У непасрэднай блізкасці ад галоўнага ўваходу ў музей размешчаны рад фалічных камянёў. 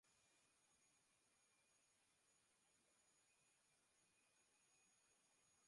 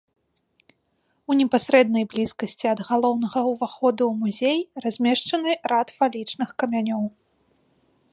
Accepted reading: second